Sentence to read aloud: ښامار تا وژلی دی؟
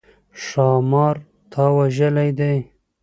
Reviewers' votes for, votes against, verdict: 2, 0, accepted